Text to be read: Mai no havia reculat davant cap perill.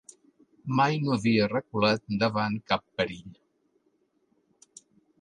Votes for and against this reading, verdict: 2, 0, accepted